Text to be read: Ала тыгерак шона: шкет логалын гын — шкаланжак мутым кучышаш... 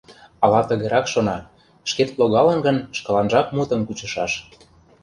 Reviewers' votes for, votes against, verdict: 2, 0, accepted